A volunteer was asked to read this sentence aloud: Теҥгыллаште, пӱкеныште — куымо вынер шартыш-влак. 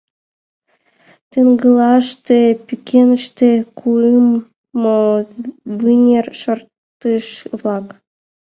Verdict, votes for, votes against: rejected, 0, 2